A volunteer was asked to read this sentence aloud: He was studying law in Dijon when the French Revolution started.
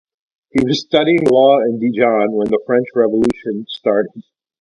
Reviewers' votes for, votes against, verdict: 0, 2, rejected